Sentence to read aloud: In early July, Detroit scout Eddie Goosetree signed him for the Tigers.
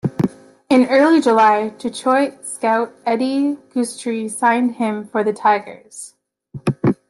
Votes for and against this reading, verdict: 0, 2, rejected